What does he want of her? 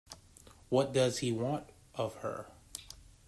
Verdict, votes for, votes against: accepted, 2, 1